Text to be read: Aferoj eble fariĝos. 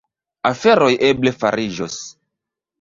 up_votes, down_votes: 1, 2